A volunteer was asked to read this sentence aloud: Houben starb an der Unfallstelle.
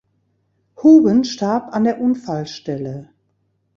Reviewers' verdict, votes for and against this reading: accepted, 2, 0